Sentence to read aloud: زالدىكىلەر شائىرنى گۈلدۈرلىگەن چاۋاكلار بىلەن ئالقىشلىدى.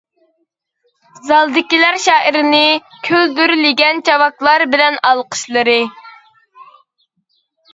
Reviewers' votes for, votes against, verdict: 0, 2, rejected